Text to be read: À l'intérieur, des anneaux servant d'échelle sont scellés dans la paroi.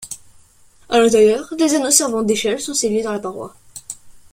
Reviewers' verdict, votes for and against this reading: accepted, 2, 0